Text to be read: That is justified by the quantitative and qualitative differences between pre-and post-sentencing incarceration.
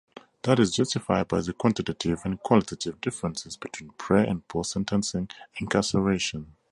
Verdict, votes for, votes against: accepted, 4, 0